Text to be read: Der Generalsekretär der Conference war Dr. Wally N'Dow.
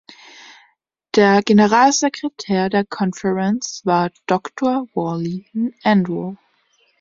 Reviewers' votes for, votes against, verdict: 0, 2, rejected